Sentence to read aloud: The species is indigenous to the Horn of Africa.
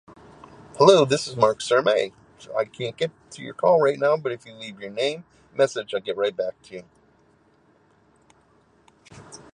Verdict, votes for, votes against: rejected, 0, 2